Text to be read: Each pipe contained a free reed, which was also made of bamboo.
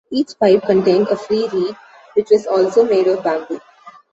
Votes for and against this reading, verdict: 2, 0, accepted